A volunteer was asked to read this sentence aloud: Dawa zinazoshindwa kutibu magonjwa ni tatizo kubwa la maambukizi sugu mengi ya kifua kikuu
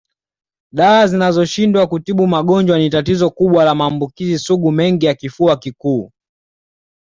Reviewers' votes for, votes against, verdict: 2, 0, accepted